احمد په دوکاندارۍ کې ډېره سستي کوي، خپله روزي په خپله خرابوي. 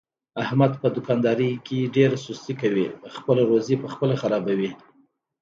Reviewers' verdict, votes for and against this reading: accepted, 2, 1